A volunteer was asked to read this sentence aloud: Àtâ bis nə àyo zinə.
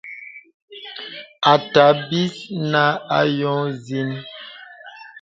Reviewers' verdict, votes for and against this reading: rejected, 0, 2